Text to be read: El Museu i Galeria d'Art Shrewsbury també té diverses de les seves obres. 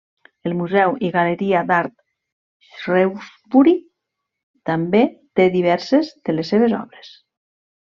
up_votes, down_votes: 1, 2